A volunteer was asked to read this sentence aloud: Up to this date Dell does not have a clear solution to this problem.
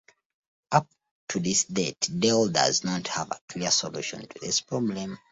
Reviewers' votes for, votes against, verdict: 2, 0, accepted